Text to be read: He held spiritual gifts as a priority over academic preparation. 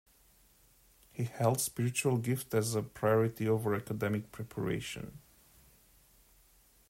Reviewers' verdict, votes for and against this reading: rejected, 0, 2